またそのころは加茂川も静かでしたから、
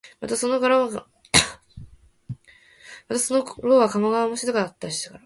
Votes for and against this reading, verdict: 0, 2, rejected